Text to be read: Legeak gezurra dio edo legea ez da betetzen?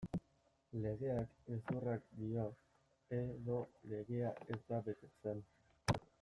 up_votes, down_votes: 0, 2